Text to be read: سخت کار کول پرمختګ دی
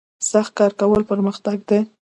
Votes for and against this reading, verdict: 2, 0, accepted